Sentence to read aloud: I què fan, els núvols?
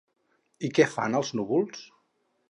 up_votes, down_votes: 2, 2